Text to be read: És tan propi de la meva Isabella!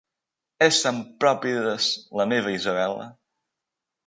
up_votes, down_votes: 0, 2